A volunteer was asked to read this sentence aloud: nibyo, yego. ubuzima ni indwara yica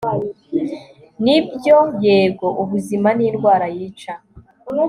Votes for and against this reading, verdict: 2, 0, accepted